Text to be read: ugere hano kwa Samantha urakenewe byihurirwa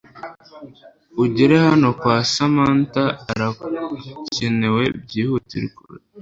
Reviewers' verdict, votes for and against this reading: rejected, 1, 2